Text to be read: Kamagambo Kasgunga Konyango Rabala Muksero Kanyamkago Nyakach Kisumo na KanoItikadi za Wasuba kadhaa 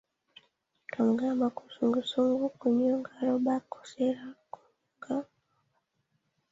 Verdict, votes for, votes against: rejected, 1, 2